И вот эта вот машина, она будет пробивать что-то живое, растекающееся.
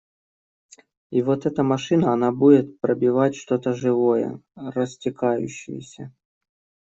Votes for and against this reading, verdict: 1, 2, rejected